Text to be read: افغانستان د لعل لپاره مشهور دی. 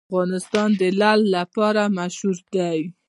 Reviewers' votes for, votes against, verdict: 2, 0, accepted